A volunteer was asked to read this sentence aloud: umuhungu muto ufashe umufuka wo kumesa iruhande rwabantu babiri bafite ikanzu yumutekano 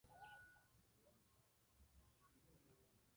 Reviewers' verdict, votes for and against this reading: rejected, 0, 2